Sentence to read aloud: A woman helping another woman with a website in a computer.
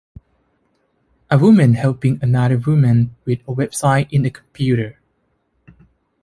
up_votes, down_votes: 2, 3